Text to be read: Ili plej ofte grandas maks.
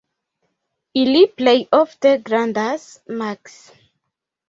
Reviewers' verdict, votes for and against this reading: accepted, 2, 0